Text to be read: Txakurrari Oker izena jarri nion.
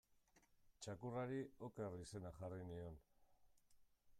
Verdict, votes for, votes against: rejected, 1, 2